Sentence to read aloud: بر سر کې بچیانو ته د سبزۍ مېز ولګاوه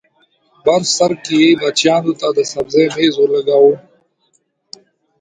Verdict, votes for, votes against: rejected, 1, 2